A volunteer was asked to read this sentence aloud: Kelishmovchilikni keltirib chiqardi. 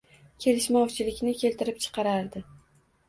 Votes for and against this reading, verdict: 0, 2, rejected